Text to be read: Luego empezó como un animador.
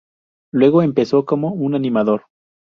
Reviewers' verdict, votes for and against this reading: accepted, 2, 0